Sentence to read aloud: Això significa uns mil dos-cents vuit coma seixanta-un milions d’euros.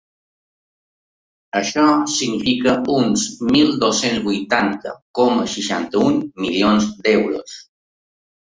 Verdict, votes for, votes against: rejected, 0, 2